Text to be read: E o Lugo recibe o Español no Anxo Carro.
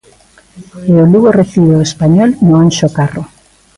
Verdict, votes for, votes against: rejected, 1, 2